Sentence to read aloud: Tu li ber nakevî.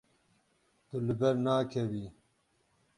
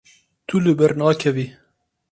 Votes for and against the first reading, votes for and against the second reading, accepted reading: 0, 6, 4, 0, second